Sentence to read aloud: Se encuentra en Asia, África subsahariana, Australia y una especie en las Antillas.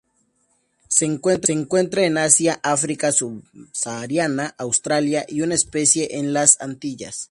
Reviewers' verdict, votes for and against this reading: rejected, 0, 4